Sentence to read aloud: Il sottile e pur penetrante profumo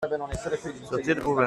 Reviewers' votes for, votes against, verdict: 0, 2, rejected